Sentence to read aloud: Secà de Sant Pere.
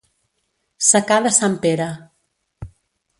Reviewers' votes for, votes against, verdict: 2, 0, accepted